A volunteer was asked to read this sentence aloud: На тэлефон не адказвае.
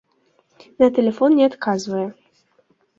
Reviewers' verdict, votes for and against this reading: accepted, 2, 0